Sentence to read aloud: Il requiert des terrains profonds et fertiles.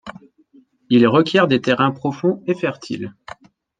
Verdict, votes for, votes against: accepted, 2, 0